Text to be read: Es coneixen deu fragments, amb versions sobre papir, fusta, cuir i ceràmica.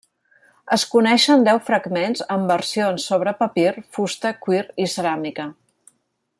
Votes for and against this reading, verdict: 2, 0, accepted